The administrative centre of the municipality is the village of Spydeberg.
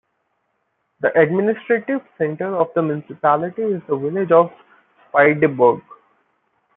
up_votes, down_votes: 2, 0